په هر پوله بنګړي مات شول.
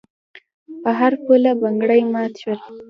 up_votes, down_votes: 2, 1